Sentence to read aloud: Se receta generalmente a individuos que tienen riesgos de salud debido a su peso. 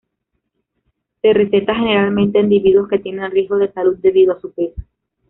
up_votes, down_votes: 1, 2